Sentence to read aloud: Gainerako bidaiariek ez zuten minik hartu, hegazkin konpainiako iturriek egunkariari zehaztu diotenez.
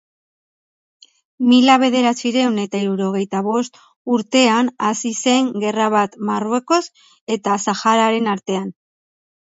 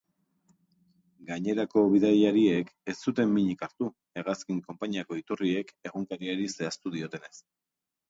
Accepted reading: second